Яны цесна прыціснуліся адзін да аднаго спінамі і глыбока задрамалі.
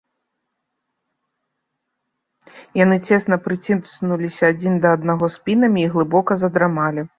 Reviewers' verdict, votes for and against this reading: rejected, 1, 2